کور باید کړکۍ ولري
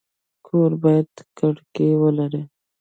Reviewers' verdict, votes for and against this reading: accepted, 2, 0